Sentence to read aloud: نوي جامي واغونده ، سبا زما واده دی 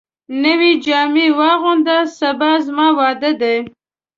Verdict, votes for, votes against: accepted, 2, 0